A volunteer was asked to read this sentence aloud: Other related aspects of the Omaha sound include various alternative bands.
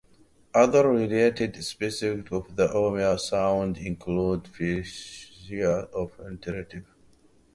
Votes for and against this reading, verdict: 0, 2, rejected